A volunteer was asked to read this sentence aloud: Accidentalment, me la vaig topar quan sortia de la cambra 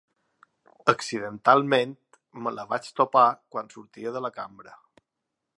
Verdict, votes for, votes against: accepted, 3, 0